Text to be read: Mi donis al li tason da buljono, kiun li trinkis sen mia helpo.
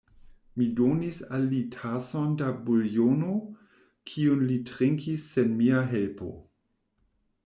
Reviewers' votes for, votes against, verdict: 1, 2, rejected